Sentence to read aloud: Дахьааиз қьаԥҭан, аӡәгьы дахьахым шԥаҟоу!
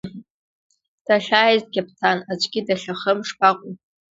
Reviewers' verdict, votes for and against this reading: accepted, 2, 1